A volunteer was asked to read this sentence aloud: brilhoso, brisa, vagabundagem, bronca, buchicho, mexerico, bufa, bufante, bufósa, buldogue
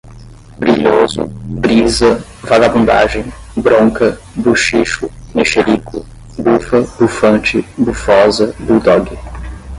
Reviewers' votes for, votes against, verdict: 5, 10, rejected